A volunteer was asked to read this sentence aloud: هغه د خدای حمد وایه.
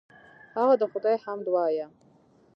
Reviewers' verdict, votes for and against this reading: rejected, 1, 2